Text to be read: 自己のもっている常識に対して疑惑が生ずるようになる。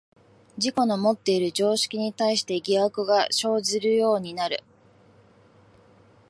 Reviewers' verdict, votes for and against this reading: accepted, 3, 2